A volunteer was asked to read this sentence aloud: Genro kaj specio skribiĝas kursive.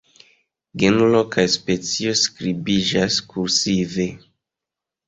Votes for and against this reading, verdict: 2, 1, accepted